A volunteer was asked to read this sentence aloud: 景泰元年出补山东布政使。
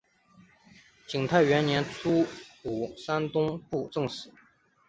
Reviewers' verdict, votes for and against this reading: accepted, 3, 0